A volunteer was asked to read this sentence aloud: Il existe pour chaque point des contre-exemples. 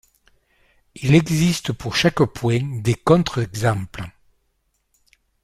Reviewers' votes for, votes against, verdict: 0, 2, rejected